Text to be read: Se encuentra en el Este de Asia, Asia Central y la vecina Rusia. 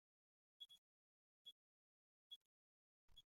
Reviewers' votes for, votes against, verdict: 0, 2, rejected